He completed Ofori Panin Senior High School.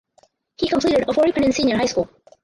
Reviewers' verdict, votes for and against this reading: rejected, 2, 4